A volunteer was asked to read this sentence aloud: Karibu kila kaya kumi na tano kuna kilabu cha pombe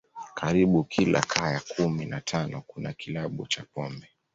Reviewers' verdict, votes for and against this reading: accepted, 2, 0